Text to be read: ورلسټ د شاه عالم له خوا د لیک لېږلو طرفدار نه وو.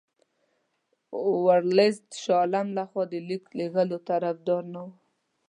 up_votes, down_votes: 2, 0